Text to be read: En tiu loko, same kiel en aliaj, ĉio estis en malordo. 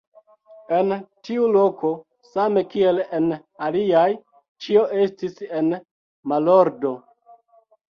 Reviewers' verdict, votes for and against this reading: rejected, 0, 2